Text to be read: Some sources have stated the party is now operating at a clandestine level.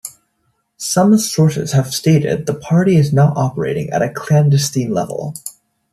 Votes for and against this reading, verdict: 2, 0, accepted